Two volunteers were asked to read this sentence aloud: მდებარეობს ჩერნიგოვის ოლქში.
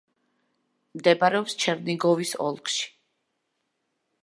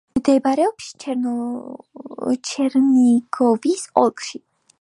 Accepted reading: first